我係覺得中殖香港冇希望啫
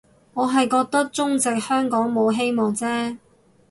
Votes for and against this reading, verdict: 4, 0, accepted